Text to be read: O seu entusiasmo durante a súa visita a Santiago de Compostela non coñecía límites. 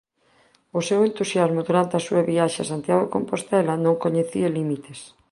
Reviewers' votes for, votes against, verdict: 1, 2, rejected